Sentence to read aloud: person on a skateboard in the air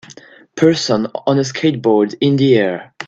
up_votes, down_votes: 2, 0